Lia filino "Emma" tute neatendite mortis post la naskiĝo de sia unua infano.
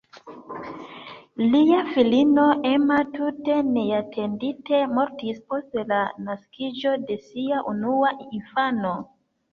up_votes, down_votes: 2, 0